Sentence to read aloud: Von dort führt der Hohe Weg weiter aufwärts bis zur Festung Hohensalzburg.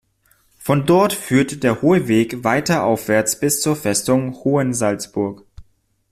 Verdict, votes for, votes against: accepted, 2, 0